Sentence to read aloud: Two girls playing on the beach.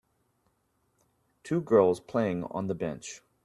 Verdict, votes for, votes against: rejected, 0, 2